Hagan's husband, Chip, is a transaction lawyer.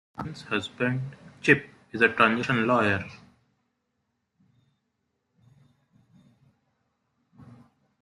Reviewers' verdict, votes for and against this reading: rejected, 0, 2